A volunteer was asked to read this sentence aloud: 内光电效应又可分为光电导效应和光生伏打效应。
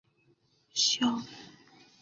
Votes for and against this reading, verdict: 0, 3, rejected